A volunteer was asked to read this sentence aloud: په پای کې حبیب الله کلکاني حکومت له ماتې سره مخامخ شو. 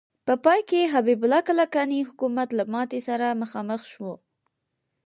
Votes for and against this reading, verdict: 4, 0, accepted